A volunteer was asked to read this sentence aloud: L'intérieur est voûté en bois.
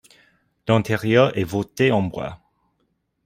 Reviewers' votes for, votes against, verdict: 1, 2, rejected